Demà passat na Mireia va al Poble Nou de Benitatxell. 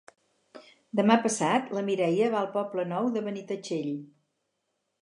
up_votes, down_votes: 2, 4